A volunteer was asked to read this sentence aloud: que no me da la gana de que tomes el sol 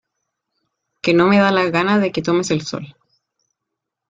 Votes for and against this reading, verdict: 2, 1, accepted